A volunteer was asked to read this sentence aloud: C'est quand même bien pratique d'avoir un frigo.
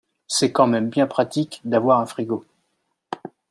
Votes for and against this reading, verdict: 2, 0, accepted